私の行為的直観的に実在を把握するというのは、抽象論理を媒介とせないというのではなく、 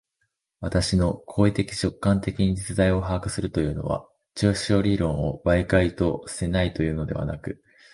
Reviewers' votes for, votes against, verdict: 1, 2, rejected